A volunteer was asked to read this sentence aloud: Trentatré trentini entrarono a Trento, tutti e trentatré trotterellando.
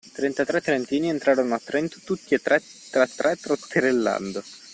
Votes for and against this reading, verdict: 0, 2, rejected